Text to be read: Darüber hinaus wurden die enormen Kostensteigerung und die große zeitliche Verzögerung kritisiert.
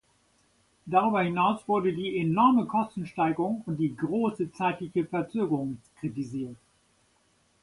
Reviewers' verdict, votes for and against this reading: rejected, 1, 2